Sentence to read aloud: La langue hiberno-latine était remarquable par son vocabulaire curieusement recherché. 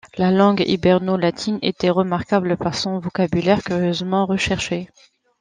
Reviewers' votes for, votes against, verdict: 2, 0, accepted